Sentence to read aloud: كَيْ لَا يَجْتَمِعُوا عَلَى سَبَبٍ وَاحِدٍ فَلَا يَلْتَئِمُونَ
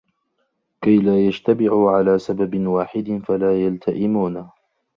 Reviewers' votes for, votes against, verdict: 1, 2, rejected